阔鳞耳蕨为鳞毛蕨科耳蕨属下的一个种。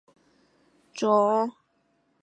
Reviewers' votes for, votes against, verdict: 0, 4, rejected